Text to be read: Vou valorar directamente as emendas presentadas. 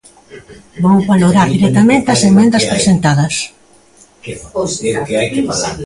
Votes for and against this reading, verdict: 0, 2, rejected